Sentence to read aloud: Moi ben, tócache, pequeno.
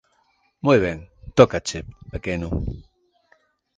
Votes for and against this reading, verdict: 2, 0, accepted